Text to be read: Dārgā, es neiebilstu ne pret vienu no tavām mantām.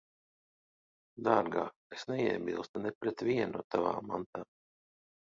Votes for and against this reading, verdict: 2, 0, accepted